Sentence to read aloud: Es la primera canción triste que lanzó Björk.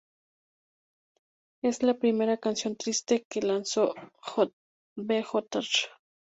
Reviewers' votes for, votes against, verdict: 2, 0, accepted